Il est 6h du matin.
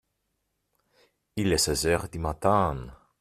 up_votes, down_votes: 0, 2